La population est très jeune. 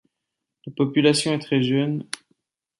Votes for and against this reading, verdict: 0, 2, rejected